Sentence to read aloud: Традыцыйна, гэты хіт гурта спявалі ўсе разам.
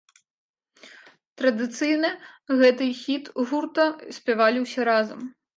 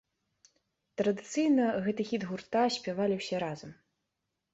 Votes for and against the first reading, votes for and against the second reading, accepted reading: 1, 2, 2, 0, second